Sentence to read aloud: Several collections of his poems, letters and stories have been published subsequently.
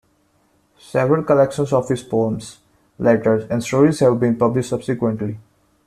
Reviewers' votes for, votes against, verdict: 2, 0, accepted